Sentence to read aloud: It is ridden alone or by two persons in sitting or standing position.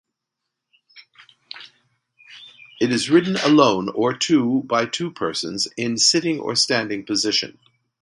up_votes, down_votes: 0, 2